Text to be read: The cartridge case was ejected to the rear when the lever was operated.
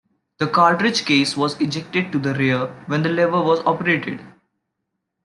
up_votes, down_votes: 2, 0